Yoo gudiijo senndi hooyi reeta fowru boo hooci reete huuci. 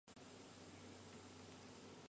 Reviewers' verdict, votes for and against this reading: rejected, 0, 2